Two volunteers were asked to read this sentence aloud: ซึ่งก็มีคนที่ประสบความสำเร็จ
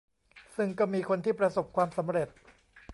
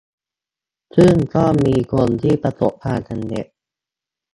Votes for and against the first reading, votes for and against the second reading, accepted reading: 2, 0, 0, 2, first